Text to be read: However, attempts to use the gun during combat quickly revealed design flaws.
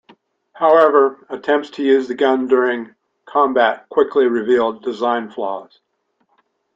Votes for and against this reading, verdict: 2, 0, accepted